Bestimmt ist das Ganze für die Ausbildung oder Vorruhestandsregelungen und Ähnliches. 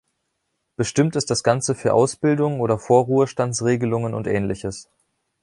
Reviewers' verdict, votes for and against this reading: rejected, 0, 2